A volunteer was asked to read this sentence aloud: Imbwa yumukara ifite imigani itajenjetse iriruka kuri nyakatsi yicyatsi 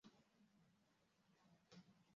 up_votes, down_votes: 0, 2